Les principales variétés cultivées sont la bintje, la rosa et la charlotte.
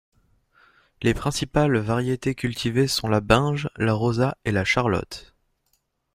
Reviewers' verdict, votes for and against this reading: rejected, 1, 2